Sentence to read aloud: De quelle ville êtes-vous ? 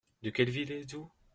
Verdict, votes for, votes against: accepted, 2, 1